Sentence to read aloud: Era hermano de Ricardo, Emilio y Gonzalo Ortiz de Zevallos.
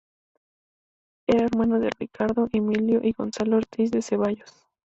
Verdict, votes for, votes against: accepted, 2, 0